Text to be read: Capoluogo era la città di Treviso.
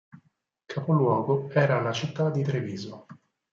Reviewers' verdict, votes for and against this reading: accepted, 4, 0